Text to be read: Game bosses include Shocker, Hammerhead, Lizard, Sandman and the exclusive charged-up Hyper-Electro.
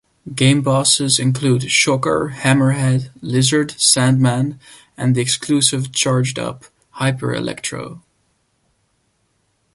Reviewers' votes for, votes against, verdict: 2, 0, accepted